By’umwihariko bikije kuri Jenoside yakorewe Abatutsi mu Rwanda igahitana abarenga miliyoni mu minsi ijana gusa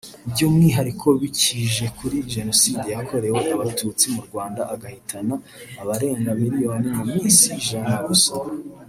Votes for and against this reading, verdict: 0, 2, rejected